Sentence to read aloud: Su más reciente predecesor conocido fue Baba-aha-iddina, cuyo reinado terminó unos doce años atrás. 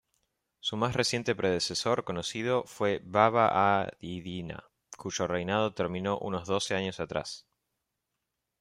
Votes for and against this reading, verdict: 2, 0, accepted